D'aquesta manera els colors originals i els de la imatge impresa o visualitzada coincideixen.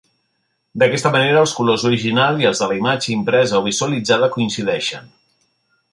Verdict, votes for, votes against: accepted, 3, 0